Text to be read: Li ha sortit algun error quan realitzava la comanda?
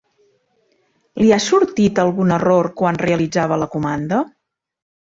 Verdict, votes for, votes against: accepted, 3, 0